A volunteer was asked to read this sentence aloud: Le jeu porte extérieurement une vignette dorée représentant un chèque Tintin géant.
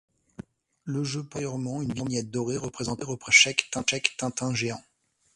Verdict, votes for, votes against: rejected, 1, 2